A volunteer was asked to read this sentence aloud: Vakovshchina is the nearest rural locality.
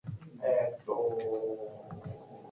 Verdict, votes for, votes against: rejected, 0, 2